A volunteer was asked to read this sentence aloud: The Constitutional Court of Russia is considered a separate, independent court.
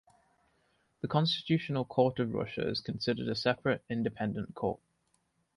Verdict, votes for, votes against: accepted, 2, 0